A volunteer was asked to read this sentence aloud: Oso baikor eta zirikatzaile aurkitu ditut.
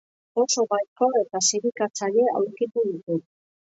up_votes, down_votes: 3, 2